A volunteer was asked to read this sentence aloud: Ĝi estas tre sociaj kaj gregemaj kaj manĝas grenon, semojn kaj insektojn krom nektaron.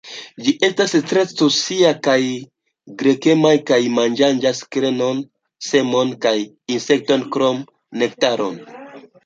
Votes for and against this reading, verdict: 1, 2, rejected